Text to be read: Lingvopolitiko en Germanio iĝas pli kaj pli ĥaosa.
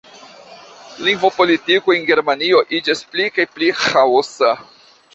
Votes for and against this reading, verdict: 0, 2, rejected